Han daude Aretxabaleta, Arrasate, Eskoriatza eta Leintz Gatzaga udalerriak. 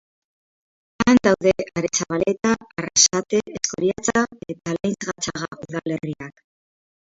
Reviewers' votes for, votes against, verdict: 0, 6, rejected